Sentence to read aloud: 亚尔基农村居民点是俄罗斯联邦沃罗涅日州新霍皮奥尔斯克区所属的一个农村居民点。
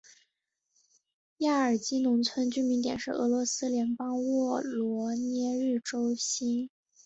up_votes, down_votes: 2, 3